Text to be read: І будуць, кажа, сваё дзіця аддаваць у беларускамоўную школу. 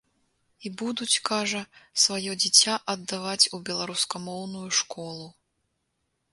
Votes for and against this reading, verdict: 2, 0, accepted